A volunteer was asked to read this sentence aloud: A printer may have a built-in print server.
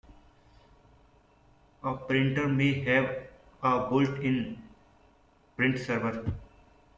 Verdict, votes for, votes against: accepted, 2, 0